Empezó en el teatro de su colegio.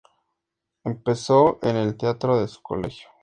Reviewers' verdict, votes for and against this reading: accepted, 4, 0